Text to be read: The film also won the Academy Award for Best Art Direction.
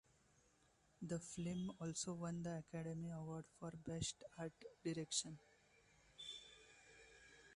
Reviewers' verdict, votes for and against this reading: accepted, 2, 0